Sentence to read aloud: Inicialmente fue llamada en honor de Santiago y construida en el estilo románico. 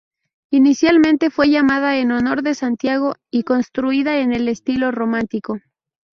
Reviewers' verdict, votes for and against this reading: rejected, 0, 2